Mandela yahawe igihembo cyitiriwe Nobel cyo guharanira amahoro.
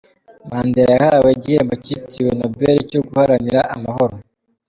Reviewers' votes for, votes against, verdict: 2, 0, accepted